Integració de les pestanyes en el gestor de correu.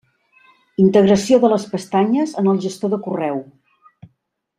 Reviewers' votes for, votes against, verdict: 3, 0, accepted